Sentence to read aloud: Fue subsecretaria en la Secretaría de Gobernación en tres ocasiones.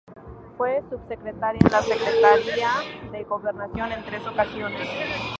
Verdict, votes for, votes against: rejected, 0, 2